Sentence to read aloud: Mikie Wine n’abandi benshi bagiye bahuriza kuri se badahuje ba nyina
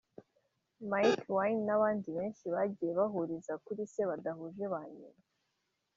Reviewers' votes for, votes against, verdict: 0, 2, rejected